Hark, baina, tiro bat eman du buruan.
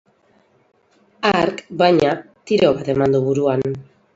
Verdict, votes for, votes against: rejected, 0, 4